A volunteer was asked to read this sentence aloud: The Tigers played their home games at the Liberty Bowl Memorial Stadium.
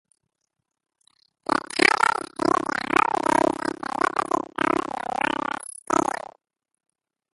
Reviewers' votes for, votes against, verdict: 0, 2, rejected